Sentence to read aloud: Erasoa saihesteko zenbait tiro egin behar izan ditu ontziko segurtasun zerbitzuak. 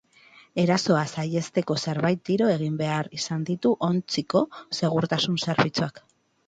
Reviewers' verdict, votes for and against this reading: rejected, 2, 2